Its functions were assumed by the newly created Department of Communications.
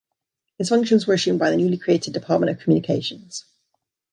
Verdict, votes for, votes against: accepted, 2, 0